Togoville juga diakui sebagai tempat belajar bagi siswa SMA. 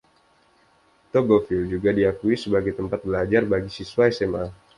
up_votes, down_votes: 2, 0